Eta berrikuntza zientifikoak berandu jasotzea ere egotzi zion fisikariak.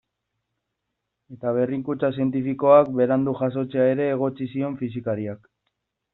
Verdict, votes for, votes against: accepted, 2, 0